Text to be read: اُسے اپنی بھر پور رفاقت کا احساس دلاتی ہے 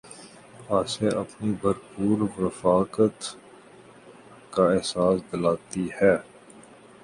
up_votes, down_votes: 2, 3